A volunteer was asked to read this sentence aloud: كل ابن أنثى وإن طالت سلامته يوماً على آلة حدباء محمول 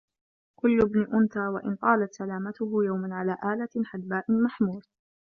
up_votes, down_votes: 0, 2